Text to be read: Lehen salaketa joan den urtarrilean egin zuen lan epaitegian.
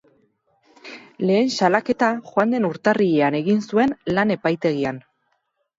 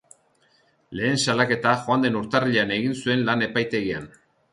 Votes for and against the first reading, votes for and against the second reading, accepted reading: 0, 2, 2, 0, second